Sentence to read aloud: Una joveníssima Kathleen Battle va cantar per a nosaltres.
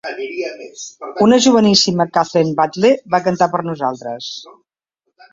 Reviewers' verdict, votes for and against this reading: rejected, 0, 3